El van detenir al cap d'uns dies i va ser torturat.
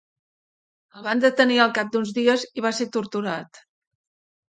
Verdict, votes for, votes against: accepted, 2, 0